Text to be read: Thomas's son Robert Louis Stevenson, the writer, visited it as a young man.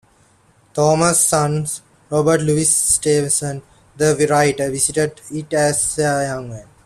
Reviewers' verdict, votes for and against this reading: rejected, 0, 2